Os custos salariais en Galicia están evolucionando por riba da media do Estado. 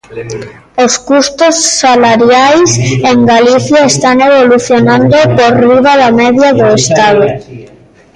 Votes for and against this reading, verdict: 0, 2, rejected